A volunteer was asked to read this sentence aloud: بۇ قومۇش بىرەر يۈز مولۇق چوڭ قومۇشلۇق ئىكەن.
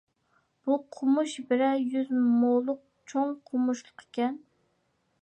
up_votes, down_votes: 2, 0